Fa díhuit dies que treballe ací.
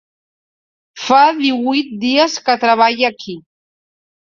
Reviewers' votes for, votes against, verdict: 1, 2, rejected